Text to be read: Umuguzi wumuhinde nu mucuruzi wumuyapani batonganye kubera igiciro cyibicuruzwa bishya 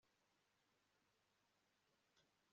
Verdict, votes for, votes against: rejected, 0, 2